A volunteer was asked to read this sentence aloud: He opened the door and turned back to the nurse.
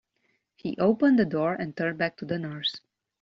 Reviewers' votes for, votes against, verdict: 2, 1, accepted